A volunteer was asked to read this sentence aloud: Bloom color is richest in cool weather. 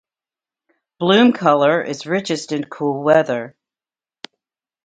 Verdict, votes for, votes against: rejected, 1, 2